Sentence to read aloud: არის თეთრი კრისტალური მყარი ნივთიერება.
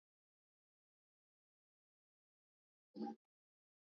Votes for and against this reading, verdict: 0, 2, rejected